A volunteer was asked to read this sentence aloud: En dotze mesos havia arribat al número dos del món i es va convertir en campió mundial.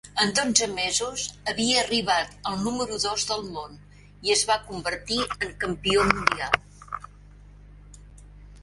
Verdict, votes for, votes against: rejected, 1, 2